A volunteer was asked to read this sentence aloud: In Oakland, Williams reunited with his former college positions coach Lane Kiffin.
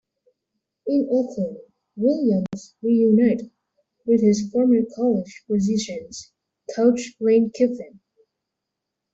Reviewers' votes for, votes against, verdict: 1, 2, rejected